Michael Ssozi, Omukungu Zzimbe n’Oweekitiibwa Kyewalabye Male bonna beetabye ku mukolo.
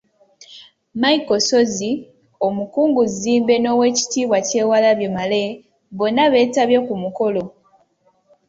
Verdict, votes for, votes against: accepted, 2, 0